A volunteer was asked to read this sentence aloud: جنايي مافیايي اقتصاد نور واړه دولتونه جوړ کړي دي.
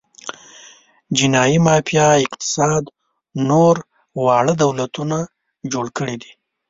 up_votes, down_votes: 1, 2